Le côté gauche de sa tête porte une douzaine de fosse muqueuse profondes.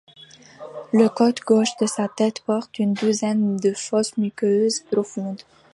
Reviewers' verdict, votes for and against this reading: rejected, 0, 2